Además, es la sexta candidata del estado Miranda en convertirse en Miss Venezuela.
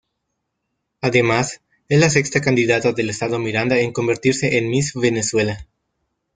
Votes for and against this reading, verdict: 2, 1, accepted